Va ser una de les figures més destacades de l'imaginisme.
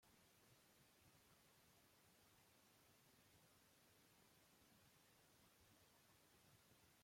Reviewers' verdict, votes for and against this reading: rejected, 0, 2